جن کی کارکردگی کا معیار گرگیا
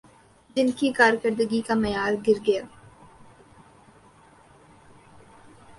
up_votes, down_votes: 2, 1